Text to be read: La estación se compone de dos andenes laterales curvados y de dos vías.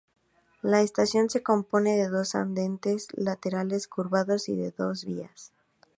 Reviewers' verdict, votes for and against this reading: rejected, 0, 4